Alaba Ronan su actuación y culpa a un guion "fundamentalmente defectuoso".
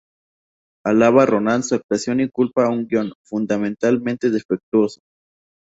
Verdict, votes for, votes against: rejected, 0, 2